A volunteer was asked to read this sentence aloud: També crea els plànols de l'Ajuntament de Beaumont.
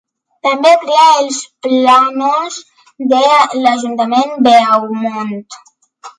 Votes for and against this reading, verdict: 3, 1, accepted